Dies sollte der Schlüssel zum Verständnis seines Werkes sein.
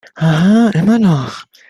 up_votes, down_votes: 0, 2